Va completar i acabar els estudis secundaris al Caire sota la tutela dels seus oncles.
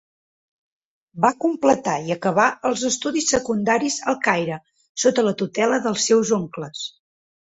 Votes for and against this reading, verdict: 6, 0, accepted